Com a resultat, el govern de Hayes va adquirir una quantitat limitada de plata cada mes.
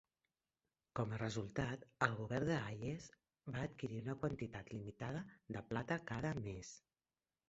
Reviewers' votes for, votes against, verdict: 1, 2, rejected